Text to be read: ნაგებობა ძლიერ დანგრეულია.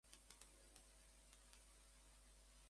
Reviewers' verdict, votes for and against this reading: rejected, 0, 2